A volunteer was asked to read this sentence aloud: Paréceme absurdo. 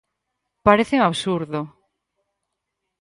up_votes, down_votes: 4, 0